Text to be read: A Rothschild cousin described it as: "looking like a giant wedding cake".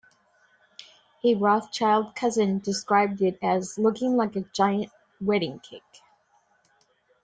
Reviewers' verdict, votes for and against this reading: accepted, 2, 0